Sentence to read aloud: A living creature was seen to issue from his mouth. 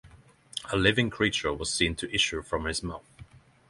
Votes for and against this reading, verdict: 6, 0, accepted